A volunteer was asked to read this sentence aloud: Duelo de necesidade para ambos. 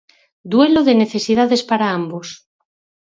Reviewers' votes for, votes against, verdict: 2, 4, rejected